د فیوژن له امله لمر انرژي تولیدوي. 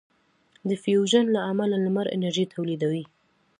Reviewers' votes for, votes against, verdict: 2, 0, accepted